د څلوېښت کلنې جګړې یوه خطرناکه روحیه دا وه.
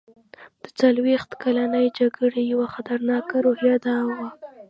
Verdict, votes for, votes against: rejected, 1, 2